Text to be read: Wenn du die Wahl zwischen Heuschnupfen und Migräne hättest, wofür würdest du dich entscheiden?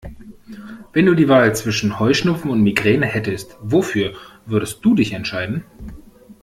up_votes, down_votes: 2, 0